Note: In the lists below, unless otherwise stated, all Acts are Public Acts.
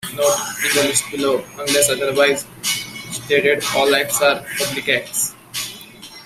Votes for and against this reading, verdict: 2, 0, accepted